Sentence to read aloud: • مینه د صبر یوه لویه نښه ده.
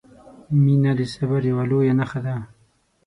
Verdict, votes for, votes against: accepted, 6, 0